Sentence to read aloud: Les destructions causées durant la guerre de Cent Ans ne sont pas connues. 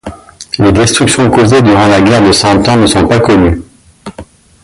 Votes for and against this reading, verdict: 2, 0, accepted